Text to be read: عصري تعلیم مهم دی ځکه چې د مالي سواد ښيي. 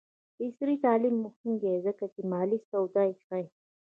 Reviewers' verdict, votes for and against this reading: rejected, 0, 2